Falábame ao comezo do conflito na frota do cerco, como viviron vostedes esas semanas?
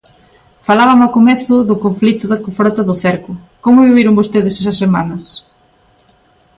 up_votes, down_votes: 1, 2